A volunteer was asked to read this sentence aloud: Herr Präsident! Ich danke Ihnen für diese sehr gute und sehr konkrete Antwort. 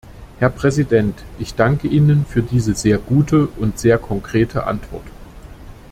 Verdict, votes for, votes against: accepted, 2, 0